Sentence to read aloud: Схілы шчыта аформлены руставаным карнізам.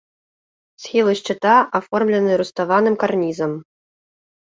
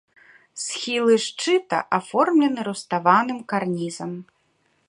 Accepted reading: first